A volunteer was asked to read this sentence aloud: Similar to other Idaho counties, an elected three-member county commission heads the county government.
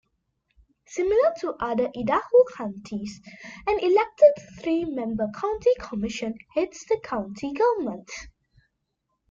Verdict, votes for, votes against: rejected, 1, 2